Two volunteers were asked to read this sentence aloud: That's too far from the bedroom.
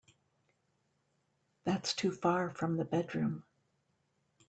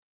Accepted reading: first